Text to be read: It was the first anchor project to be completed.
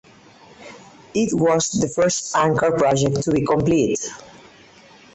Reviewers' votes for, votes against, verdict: 2, 4, rejected